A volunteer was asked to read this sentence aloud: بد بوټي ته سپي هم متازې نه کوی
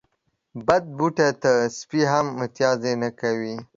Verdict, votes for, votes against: accepted, 2, 1